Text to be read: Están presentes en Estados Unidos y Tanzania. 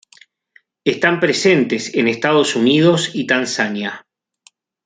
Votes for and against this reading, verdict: 2, 0, accepted